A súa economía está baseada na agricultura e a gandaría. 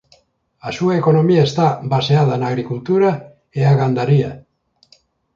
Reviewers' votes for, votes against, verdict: 2, 0, accepted